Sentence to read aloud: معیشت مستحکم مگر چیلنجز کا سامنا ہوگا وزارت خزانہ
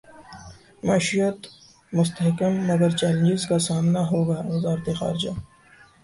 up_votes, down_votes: 0, 2